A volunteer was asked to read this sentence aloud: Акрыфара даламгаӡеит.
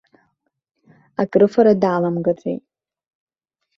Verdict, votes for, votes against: accepted, 2, 0